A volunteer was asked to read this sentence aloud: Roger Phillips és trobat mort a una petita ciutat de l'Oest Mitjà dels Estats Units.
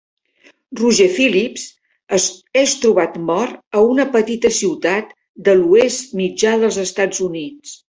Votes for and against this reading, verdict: 3, 0, accepted